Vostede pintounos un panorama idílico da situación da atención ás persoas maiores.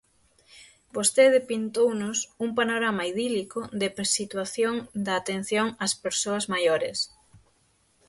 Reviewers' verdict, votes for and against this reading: rejected, 3, 6